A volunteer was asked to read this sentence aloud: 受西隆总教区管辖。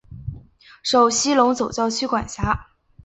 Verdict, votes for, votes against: accepted, 2, 1